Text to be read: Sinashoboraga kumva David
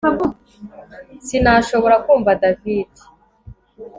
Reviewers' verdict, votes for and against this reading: accepted, 2, 0